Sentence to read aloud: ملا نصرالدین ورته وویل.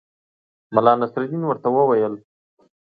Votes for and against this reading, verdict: 2, 0, accepted